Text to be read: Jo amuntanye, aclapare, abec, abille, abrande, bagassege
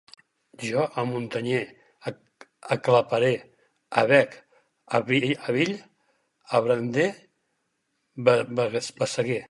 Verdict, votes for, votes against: rejected, 0, 4